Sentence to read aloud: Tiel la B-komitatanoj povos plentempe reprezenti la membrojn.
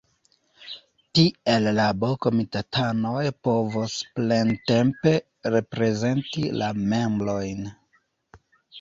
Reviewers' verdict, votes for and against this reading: rejected, 1, 2